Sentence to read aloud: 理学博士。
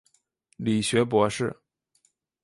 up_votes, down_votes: 2, 0